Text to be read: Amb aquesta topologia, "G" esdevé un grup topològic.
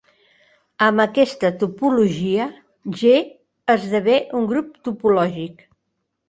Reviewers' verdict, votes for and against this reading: accepted, 2, 0